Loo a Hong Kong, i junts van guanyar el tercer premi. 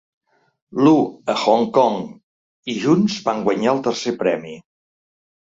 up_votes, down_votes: 2, 0